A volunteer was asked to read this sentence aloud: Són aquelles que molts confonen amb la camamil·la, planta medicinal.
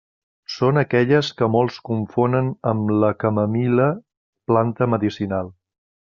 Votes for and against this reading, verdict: 2, 0, accepted